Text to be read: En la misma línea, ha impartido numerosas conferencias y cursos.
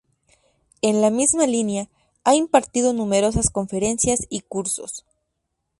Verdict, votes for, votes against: accepted, 2, 0